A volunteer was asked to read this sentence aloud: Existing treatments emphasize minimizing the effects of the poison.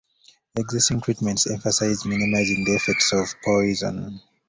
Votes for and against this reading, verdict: 0, 2, rejected